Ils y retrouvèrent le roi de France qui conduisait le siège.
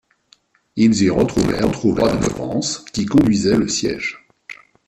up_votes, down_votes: 0, 2